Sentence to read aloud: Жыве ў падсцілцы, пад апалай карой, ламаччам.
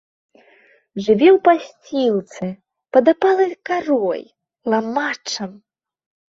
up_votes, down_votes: 1, 2